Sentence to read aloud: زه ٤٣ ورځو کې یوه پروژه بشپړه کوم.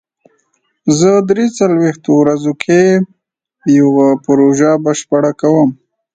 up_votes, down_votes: 0, 2